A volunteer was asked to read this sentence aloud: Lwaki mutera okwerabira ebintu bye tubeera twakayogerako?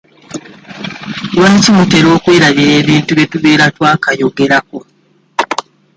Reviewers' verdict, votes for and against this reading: accepted, 2, 1